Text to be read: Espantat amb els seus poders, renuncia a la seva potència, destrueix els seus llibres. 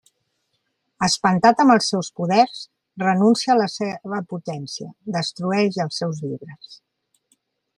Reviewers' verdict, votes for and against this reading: rejected, 0, 2